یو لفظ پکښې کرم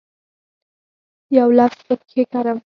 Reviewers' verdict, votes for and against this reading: accepted, 6, 0